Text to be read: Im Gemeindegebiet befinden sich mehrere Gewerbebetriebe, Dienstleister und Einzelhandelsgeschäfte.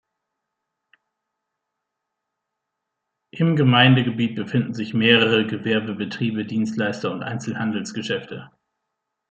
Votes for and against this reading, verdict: 2, 0, accepted